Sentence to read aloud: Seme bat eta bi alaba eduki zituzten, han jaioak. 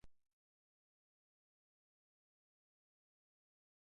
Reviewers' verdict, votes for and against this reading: rejected, 0, 2